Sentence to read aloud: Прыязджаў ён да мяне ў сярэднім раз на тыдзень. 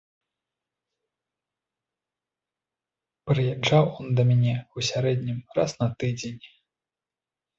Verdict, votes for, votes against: rejected, 1, 2